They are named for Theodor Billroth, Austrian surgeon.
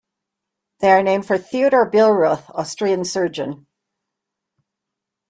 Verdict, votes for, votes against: rejected, 1, 2